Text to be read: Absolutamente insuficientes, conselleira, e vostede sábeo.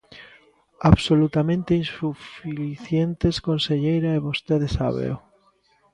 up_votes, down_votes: 0, 2